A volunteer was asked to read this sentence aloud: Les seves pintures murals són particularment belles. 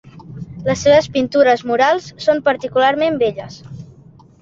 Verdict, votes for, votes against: accepted, 2, 0